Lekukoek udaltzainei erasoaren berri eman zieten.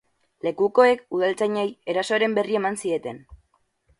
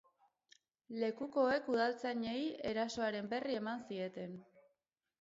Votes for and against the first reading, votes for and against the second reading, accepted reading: 8, 4, 0, 2, first